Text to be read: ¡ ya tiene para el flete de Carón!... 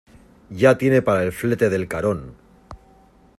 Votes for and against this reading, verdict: 0, 2, rejected